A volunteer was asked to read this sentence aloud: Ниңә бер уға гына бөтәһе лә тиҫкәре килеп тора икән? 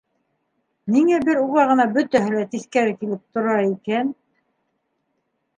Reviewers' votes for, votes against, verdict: 2, 0, accepted